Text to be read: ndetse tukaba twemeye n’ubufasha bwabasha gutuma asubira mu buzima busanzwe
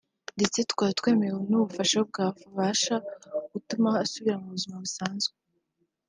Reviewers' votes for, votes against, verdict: 3, 0, accepted